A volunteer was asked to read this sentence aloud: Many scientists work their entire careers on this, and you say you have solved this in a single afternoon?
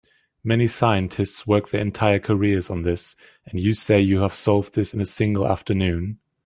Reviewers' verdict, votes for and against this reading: accepted, 2, 1